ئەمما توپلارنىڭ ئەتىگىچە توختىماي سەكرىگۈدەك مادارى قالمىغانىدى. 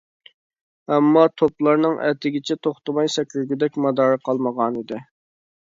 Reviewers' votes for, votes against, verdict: 2, 0, accepted